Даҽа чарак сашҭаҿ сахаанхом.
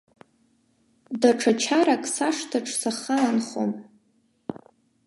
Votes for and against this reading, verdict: 2, 0, accepted